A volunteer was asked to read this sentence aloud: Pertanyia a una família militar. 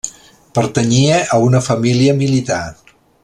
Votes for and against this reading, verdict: 3, 0, accepted